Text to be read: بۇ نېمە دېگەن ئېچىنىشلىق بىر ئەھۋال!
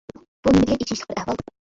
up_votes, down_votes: 0, 2